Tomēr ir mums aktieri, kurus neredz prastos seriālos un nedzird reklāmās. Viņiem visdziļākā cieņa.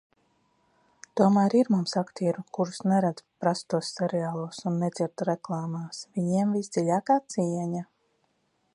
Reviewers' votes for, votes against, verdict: 2, 0, accepted